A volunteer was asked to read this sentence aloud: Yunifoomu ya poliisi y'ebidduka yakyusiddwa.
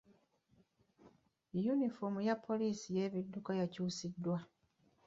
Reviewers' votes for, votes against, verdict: 2, 0, accepted